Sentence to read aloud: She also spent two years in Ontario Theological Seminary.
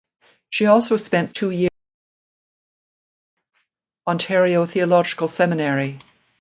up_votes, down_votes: 0, 2